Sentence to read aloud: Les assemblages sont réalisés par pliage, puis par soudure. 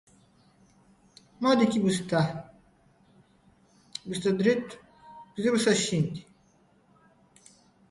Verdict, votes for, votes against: rejected, 1, 2